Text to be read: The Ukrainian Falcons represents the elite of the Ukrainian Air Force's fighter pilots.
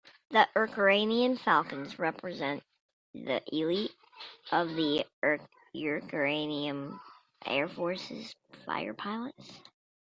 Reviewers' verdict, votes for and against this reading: rejected, 1, 2